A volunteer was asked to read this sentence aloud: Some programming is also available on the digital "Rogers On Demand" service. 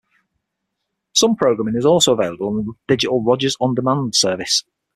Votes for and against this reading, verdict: 9, 0, accepted